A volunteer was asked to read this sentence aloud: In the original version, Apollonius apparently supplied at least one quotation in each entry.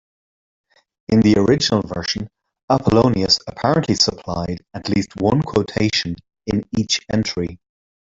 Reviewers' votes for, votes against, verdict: 1, 2, rejected